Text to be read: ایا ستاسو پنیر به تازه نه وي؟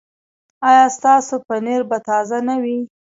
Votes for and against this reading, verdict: 3, 1, accepted